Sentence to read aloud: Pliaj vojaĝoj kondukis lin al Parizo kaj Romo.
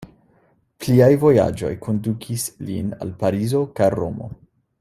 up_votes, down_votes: 2, 0